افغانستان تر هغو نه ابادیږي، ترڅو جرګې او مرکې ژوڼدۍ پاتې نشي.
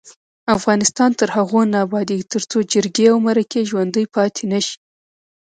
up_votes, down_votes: 1, 2